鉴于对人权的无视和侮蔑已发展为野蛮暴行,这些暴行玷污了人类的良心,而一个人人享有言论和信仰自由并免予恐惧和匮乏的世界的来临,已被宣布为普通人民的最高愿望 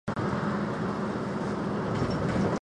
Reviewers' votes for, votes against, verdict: 0, 6, rejected